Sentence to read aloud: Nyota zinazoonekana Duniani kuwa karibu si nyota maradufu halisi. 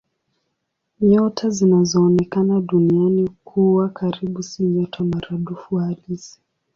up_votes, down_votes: 2, 0